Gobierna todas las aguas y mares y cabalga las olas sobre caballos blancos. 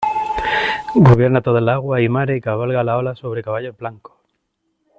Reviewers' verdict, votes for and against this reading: rejected, 0, 2